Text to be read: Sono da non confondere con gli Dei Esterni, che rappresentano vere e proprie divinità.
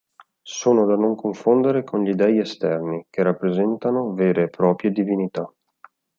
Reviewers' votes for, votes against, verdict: 2, 0, accepted